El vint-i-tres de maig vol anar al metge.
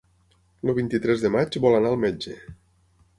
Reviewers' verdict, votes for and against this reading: rejected, 3, 6